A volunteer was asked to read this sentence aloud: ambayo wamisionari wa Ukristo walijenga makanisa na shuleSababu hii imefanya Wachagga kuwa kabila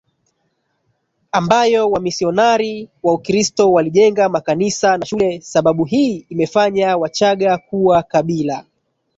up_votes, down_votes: 0, 2